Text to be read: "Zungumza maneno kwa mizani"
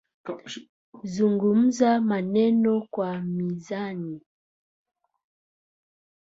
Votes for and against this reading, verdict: 0, 2, rejected